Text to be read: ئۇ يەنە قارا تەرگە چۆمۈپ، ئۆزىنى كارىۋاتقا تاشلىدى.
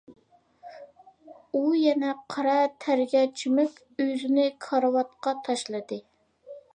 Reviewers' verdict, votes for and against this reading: accepted, 2, 0